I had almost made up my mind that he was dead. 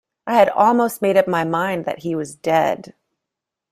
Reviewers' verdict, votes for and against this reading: accepted, 2, 0